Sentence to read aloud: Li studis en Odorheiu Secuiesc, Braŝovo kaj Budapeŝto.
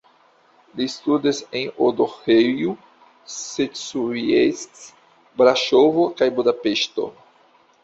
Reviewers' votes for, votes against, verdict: 1, 2, rejected